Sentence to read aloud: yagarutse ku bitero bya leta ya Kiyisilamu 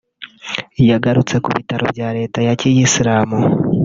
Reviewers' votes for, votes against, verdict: 1, 3, rejected